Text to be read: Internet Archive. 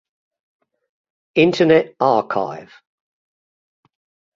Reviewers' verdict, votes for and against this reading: accepted, 2, 0